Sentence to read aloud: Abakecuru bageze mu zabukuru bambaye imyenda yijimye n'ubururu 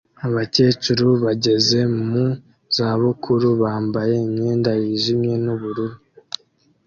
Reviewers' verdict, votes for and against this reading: accepted, 2, 0